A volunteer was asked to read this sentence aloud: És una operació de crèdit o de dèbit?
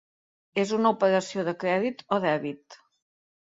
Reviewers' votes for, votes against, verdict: 0, 2, rejected